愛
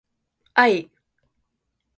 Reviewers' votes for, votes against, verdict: 6, 0, accepted